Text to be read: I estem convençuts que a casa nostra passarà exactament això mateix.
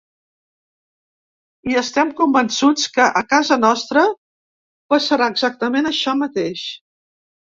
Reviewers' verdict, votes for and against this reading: accepted, 3, 0